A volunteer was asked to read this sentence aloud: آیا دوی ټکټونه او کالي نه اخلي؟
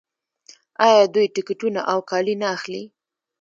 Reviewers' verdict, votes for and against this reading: accepted, 2, 0